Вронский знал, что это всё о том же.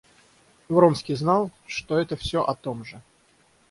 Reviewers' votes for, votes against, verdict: 6, 0, accepted